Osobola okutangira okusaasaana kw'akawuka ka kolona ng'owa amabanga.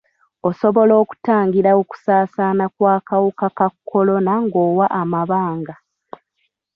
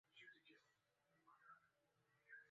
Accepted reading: first